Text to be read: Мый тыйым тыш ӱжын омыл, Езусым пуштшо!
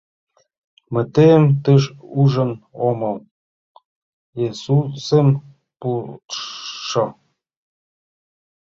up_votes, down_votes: 1, 3